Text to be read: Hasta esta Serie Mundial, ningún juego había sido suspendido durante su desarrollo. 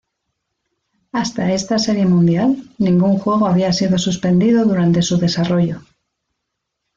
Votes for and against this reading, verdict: 0, 2, rejected